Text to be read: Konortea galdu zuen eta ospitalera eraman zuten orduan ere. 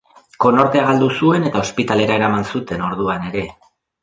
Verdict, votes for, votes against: accepted, 2, 0